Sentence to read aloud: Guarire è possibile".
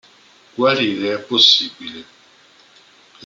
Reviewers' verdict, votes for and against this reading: accepted, 2, 0